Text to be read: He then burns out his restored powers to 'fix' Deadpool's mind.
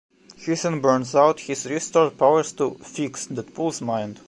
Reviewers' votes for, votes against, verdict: 0, 2, rejected